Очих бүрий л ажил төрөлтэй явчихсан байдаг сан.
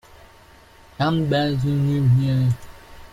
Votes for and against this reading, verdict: 0, 2, rejected